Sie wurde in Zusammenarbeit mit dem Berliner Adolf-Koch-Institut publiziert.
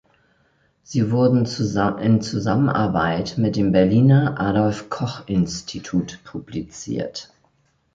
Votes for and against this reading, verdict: 0, 2, rejected